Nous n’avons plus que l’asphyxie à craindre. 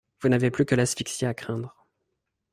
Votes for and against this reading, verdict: 1, 2, rejected